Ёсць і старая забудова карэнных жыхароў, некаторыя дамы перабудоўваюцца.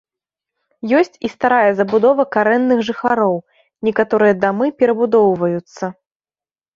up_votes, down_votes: 2, 0